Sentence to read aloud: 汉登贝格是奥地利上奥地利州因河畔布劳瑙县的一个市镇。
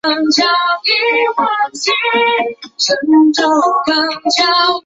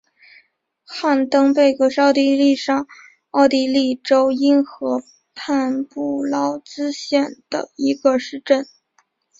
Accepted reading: second